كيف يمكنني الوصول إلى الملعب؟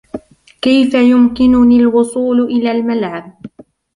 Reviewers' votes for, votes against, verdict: 1, 2, rejected